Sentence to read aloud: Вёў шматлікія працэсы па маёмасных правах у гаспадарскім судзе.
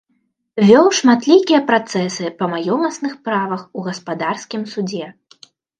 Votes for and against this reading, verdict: 0, 2, rejected